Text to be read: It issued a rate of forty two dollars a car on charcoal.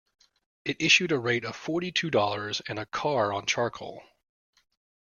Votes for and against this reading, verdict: 1, 2, rejected